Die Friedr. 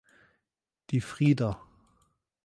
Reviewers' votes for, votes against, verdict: 1, 2, rejected